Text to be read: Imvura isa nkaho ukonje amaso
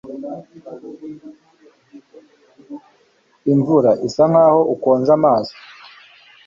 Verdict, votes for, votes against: accepted, 2, 0